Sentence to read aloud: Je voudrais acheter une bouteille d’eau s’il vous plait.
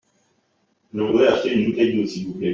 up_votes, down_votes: 2, 1